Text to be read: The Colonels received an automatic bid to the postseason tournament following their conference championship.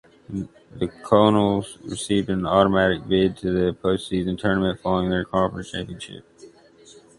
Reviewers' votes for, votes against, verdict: 0, 2, rejected